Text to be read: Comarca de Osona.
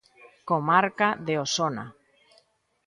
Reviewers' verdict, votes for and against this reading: accepted, 2, 0